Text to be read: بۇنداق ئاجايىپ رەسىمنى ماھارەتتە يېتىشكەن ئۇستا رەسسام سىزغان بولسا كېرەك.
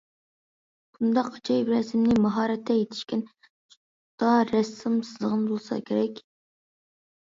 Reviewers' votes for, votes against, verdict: 0, 2, rejected